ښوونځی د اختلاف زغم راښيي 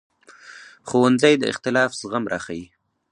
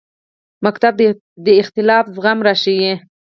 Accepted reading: first